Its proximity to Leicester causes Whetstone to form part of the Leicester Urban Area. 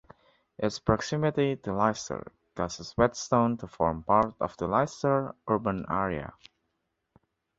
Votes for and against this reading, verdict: 2, 1, accepted